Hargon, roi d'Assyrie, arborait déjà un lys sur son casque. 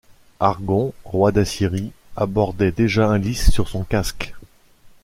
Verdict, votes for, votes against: rejected, 0, 2